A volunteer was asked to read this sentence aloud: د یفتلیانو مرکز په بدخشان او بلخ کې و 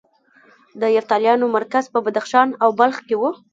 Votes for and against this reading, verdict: 1, 2, rejected